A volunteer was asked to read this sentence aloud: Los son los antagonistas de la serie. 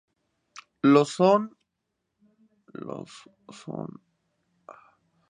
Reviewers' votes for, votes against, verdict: 0, 2, rejected